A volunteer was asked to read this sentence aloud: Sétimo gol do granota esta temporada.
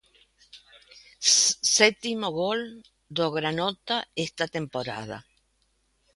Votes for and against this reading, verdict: 0, 2, rejected